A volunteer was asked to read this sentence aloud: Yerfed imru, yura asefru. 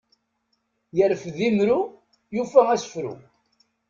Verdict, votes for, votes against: rejected, 0, 2